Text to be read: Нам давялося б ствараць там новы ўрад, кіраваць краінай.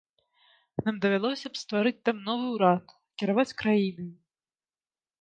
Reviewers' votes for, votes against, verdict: 0, 2, rejected